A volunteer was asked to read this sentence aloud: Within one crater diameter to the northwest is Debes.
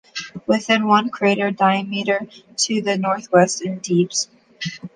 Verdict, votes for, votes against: rejected, 0, 2